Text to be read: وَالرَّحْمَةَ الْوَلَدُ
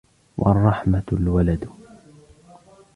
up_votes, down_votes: 1, 2